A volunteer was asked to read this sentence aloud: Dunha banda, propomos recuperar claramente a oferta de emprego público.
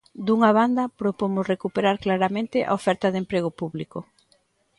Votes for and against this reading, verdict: 2, 0, accepted